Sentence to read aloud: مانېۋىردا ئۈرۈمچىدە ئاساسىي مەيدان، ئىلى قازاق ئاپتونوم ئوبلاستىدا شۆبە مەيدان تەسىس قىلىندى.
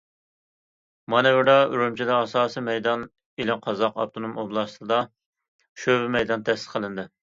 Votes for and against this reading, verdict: 2, 0, accepted